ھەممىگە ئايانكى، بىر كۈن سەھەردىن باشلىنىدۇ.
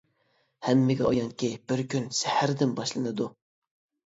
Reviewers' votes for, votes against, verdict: 3, 0, accepted